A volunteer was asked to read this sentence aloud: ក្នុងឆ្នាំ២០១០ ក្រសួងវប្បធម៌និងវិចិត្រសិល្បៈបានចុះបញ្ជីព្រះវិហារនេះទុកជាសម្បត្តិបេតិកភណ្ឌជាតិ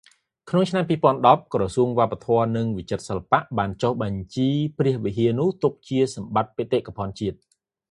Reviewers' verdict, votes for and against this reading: rejected, 0, 2